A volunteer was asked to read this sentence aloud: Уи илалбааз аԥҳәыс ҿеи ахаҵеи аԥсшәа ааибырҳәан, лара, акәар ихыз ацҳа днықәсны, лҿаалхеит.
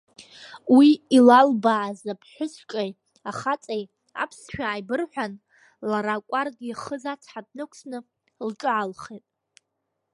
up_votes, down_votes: 1, 2